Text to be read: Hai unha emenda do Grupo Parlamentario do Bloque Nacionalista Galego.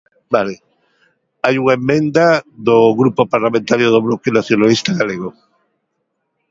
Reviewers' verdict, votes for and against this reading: rejected, 1, 2